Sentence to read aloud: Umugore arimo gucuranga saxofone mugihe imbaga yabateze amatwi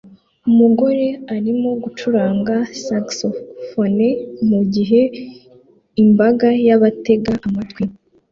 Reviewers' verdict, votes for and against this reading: rejected, 1, 2